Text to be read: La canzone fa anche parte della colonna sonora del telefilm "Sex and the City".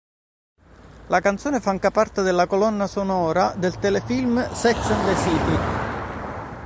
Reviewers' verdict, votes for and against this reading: rejected, 1, 2